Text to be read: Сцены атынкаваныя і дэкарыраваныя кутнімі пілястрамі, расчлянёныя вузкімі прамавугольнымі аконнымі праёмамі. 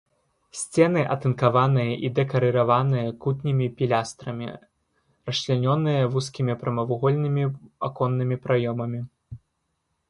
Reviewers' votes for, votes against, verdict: 2, 0, accepted